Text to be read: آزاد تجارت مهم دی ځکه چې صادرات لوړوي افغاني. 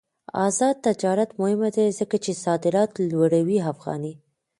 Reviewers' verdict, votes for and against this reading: rejected, 0, 2